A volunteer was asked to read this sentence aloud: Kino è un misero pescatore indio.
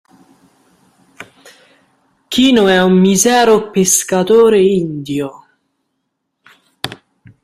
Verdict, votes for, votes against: rejected, 0, 2